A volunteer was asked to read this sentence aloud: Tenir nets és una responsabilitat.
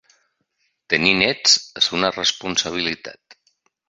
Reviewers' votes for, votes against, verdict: 3, 0, accepted